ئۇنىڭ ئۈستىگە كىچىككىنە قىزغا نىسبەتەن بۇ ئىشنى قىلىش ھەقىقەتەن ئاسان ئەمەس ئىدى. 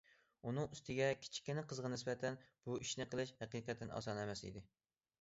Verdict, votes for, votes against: accepted, 2, 0